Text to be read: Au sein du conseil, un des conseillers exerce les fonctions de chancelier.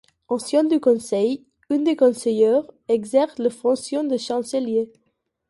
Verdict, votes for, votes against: rejected, 0, 2